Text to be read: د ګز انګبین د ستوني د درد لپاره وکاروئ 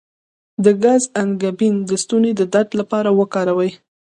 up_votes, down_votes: 2, 0